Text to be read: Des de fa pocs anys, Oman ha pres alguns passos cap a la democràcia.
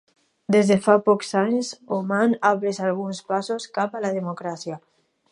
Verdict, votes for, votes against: accepted, 2, 0